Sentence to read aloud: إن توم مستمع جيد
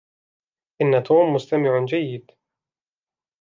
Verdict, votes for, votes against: rejected, 1, 2